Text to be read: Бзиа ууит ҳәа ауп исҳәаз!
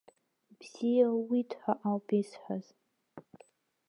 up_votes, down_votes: 0, 2